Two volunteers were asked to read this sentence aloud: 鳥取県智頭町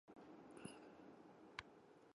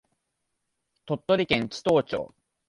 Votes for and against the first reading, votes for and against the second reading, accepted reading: 0, 2, 2, 0, second